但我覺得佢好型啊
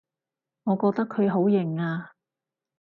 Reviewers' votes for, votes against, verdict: 0, 4, rejected